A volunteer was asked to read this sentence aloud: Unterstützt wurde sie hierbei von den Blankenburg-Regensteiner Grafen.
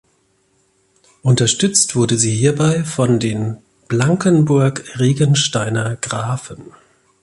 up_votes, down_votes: 2, 1